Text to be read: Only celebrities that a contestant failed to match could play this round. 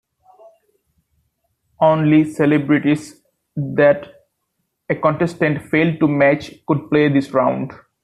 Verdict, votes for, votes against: accepted, 2, 0